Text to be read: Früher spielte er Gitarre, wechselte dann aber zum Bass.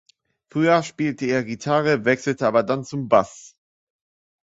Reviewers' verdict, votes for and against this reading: rejected, 0, 2